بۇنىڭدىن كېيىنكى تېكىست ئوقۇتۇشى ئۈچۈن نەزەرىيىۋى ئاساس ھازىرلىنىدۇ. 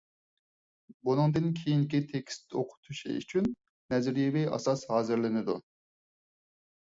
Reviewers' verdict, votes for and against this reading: accepted, 4, 0